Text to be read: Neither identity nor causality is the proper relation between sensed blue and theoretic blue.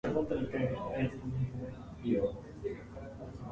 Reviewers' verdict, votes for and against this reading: rejected, 1, 2